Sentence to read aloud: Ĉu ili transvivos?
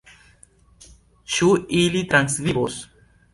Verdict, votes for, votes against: rejected, 1, 2